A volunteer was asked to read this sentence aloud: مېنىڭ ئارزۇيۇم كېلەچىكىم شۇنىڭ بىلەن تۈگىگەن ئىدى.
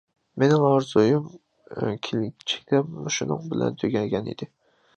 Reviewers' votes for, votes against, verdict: 0, 2, rejected